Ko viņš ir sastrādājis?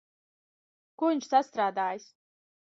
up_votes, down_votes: 0, 2